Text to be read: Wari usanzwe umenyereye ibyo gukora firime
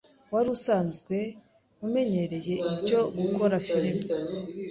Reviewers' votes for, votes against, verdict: 2, 0, accepted